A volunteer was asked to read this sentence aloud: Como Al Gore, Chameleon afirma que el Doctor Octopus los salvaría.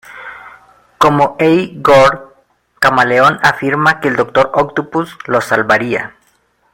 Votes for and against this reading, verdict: 0, 2, rejected